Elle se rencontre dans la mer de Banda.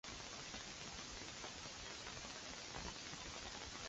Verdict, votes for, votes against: rejected, 0, 2